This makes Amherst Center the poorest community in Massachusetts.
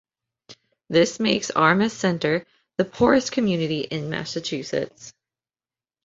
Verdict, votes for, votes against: rejected, 1, 2